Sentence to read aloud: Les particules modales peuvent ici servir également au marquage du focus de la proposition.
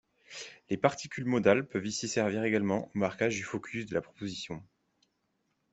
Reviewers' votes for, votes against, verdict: 2, 1, accepted